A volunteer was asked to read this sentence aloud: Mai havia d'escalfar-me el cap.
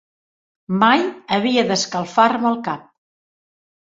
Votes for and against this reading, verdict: 3, 0, accepted